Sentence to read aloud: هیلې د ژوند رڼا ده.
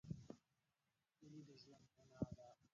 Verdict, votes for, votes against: rejected, 0, 2